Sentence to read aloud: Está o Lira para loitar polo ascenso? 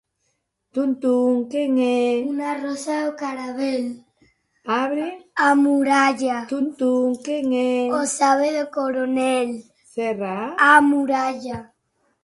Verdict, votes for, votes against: rejected, 0, 2